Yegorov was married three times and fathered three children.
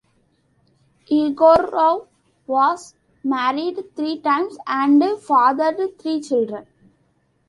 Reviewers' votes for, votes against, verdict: 2, 0, accepted